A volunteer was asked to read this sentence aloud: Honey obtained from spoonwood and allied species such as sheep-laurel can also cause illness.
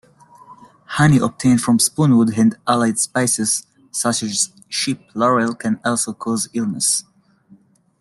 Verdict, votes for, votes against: rejected, 0, 2